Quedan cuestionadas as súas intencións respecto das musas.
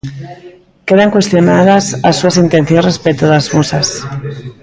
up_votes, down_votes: 2, 0